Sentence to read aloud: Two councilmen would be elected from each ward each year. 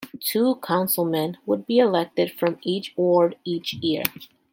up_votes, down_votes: 2, 0